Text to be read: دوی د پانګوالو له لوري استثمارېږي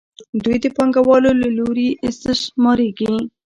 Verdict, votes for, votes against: accepted, 2, 0